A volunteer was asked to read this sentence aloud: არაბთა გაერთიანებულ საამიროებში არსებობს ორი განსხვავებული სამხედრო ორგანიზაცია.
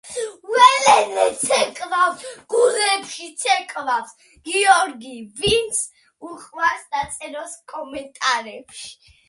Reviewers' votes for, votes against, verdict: 0, 2, rejected